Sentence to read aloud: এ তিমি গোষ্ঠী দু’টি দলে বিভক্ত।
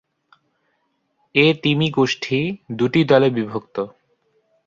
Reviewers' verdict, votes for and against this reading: accepted, 3, 0